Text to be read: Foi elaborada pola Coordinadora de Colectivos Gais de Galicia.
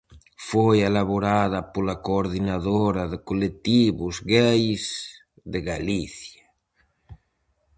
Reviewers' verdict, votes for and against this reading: rejected, 2, 2